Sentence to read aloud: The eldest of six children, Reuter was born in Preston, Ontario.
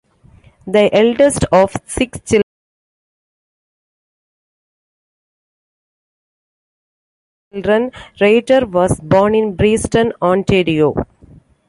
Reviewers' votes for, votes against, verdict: 0, 2, rejected